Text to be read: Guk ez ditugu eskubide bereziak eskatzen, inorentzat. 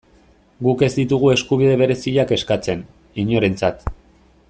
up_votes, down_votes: 2, 0